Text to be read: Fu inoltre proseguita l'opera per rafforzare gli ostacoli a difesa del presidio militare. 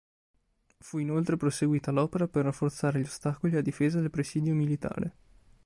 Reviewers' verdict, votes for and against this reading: accepted, 2, 0